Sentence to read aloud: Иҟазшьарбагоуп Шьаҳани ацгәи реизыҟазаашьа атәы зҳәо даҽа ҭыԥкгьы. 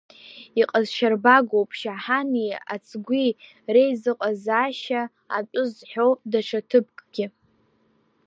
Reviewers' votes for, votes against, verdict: 2, 0, accepted